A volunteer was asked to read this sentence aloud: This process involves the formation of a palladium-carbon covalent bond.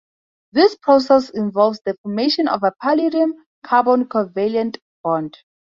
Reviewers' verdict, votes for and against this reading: accepted, 4, 0